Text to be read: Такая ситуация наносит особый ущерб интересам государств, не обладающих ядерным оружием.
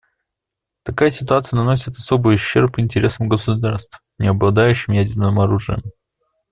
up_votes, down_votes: 1, 2